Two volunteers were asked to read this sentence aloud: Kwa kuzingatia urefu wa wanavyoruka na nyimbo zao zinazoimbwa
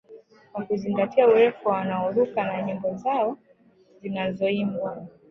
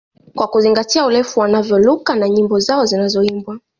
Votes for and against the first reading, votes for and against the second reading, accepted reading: 0, 2, 2, 1, second